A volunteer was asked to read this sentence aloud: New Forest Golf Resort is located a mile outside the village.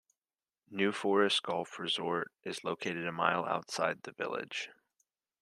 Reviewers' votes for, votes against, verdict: 1, 2, rejected